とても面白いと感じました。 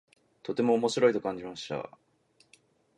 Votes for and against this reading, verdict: 2, 0, accepted